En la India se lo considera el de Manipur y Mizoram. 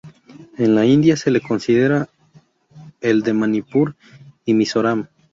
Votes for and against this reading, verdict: 2, 2, rejected